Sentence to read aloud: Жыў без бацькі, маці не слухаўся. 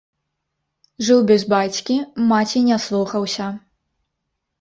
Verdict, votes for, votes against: rejected, 0, 3